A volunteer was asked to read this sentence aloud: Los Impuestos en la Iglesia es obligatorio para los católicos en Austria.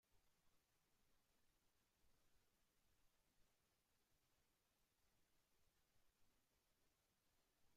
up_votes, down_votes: 0, 2